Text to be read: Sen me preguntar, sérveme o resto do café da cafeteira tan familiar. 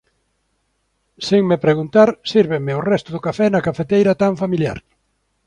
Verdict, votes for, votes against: rejected, 1, 2